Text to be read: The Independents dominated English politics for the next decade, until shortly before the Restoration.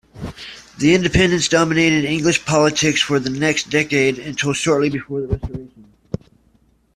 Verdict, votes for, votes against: rejected, 0, 2